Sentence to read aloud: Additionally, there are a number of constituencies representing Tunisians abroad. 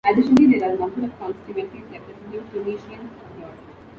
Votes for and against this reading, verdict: 0, 2, rejected